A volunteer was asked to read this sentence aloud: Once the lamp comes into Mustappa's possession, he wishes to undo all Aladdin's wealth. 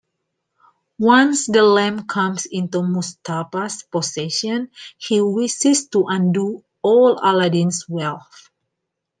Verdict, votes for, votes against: accepted, 2, 0